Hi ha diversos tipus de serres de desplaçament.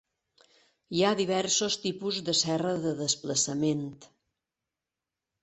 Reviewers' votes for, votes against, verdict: 1, 3, rejected